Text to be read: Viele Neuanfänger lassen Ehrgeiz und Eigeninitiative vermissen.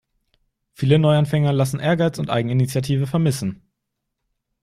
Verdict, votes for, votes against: accepted, 2, 0